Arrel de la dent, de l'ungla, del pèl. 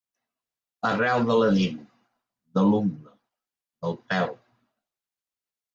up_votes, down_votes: 1, 3